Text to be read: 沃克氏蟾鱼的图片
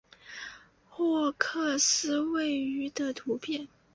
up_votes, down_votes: 0, 2